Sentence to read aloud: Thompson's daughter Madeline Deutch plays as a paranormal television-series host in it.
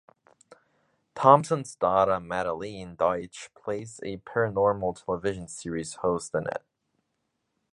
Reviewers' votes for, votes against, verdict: 1, 2, rejected